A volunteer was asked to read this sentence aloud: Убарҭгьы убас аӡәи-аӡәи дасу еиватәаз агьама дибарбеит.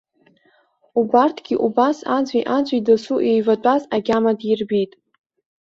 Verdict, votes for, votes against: rejected, 1, 2